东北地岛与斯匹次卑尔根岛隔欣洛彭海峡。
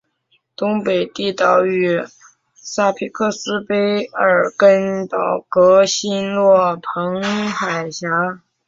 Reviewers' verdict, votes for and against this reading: rejected, 1, 2